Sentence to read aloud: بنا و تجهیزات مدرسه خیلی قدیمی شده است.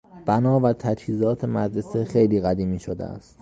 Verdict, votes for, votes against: accepted, 2, 0